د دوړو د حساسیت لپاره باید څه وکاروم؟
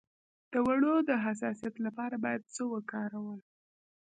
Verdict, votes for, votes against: rejected, 0, 2